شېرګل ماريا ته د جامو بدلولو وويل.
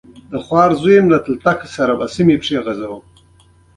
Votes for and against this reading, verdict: 0, 2, rejected